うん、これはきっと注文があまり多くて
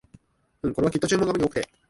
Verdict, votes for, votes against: rejected, 0, 2